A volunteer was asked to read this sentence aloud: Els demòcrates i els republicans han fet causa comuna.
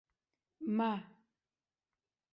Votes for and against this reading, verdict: 0, 2, rejected